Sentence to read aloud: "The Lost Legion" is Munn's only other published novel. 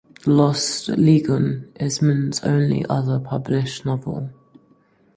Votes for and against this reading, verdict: 2, 4, rejected